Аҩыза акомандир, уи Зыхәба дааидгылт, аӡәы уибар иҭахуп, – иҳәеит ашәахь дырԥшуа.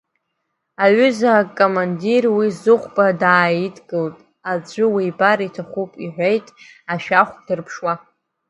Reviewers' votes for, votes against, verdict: 0, 2, rejected